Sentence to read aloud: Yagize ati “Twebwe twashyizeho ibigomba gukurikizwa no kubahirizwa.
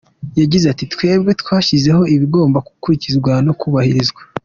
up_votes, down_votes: 2, 1